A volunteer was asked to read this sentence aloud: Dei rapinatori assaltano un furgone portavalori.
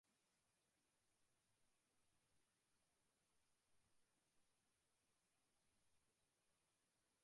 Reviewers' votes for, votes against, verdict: 0, 2, rejected